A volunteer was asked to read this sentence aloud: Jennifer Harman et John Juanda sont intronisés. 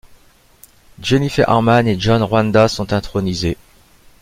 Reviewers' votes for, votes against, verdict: 2, 0, accepted